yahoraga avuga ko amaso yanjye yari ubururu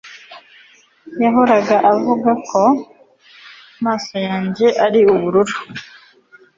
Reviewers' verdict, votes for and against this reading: accepted, 2, 0